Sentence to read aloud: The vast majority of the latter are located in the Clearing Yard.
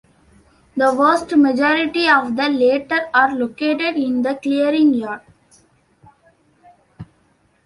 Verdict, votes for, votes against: accepted, 2, 1